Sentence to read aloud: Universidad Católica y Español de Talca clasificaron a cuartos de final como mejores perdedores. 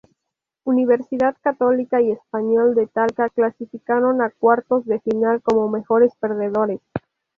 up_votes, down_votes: 2, 0